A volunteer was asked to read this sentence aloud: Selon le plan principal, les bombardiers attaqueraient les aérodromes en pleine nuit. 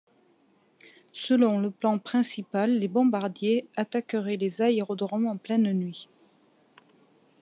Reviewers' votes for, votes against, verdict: 2, 0, accepted